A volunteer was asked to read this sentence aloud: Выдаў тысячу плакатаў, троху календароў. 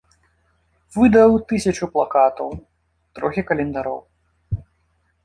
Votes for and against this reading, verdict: 1, 2, rejected